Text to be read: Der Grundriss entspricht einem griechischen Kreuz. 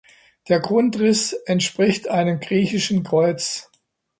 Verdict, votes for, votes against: accepted, 2, 0